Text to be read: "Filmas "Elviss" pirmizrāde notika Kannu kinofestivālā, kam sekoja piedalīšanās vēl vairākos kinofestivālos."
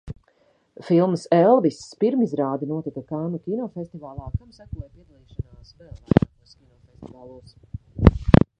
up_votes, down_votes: 0, 2